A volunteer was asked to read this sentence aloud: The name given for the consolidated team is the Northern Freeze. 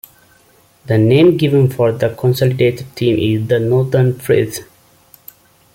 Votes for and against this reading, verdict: 2, 1, accepted